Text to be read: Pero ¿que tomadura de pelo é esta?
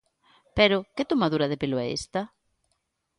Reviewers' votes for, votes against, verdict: 2, 0, accepted